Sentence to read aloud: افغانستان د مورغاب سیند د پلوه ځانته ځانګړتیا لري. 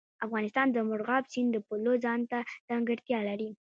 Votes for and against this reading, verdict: 2, 0, accepted